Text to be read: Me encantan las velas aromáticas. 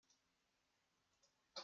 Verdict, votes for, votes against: rejected, 0, 2